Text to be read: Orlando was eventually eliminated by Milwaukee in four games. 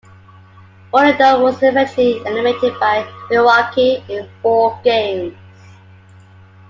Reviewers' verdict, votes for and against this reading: accepted, 2, 1